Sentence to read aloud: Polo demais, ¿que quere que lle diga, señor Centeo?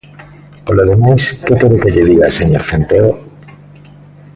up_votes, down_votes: 2, 1